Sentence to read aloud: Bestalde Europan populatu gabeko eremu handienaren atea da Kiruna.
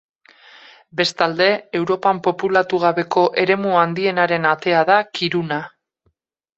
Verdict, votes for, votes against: accepted, 4, 0